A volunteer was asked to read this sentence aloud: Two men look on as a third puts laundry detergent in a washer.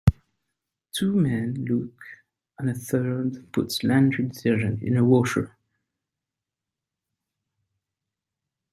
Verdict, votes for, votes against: rejected, 3, 5